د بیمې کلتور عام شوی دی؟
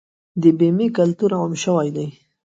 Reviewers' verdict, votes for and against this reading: accepted, 2, 0